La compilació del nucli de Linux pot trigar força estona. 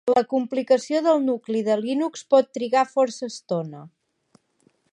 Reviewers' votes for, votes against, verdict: 1, 2, rejected